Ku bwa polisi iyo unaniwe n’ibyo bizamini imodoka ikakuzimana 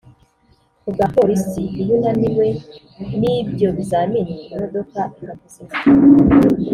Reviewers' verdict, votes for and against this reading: rejected, 0, 2